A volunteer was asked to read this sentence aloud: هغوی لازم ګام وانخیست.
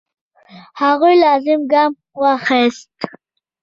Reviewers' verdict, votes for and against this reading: accepted, 2, 1